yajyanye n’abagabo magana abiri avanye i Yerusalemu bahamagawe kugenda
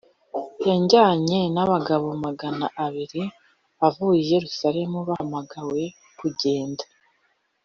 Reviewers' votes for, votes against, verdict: 1, 2, rejected